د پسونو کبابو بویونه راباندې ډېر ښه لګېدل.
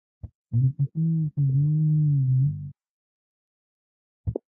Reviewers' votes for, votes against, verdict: 0, 2, rejected